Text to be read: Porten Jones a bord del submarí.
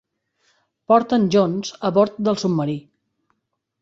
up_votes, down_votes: 3, 0